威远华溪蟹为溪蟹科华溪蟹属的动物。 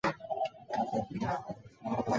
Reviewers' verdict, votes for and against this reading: rejected, 0, 2